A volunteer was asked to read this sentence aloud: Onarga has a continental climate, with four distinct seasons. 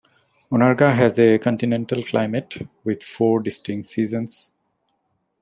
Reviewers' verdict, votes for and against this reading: accepted, 2, 0